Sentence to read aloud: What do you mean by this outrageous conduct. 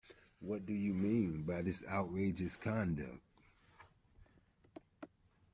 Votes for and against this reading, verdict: 0, 2, rejected